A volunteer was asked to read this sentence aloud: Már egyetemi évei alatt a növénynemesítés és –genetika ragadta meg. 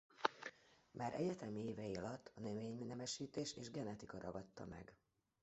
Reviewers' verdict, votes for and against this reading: rejected, 0, 2